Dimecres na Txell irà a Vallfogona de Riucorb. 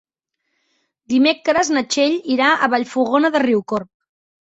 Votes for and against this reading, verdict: 3, 0, accepted